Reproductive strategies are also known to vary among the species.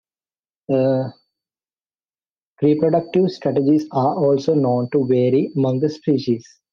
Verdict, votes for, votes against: rejected, 1, 2